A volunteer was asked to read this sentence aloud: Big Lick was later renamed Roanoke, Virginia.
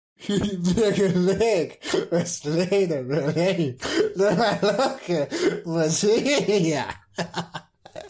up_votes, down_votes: 0, 2